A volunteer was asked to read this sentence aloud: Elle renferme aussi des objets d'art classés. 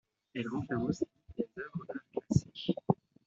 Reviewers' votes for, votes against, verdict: 0, 2, rejected